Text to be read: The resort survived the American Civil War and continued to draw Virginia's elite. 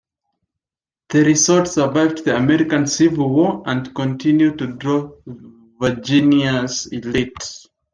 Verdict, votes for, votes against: rejected, 0, 2